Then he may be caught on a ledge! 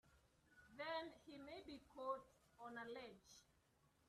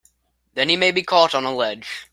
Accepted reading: second